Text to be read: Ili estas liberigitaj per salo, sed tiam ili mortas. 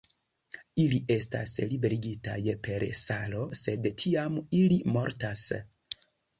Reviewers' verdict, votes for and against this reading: accepted, 2, 0